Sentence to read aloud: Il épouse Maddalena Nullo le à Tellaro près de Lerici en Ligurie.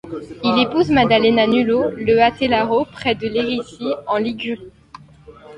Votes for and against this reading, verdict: 1, 2, rejected